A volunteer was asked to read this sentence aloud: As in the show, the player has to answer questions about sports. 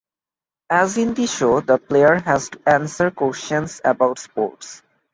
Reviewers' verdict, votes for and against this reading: accepted, 2, 0